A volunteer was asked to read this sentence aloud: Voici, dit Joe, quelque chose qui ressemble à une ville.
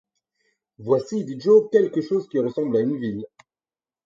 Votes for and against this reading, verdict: 4, 0, accepted